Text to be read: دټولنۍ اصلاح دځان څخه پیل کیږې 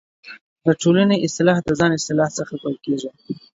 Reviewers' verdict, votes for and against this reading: accepted, 5, 1